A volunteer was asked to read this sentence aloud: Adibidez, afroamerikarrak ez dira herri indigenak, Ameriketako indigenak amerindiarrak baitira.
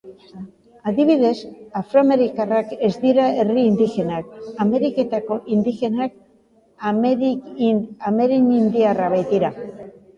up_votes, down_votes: 0, 2